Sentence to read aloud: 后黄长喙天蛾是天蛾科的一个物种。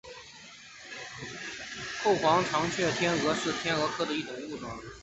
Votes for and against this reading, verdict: 1, 2, rejected